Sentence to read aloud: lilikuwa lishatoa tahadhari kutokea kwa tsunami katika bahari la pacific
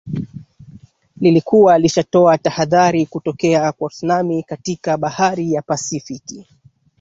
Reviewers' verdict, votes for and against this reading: rejected, 1, 2